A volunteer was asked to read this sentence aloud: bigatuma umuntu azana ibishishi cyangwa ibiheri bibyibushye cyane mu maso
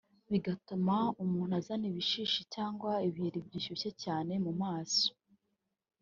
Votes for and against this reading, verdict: 2, 1, accepted